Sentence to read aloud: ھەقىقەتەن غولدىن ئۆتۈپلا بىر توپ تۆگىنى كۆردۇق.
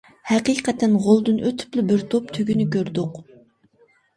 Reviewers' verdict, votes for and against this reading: accepted, 2, 0